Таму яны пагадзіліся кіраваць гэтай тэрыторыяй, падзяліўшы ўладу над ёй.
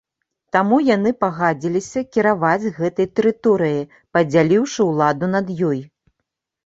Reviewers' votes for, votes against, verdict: 1, 2, rejected